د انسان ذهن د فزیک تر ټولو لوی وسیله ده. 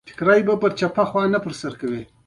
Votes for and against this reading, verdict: 2, 1, accepted